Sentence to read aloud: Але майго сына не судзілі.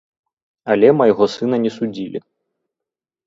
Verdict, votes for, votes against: accepted, 3, 0